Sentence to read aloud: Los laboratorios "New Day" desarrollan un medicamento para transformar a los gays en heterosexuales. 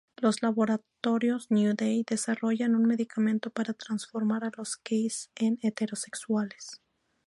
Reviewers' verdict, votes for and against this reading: accepted, 2, 0